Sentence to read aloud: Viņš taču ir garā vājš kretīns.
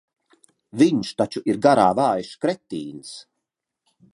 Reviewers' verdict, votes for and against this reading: accepted, 2, 0